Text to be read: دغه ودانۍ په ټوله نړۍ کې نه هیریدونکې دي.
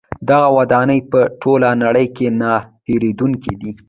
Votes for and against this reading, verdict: 2, 1, accepted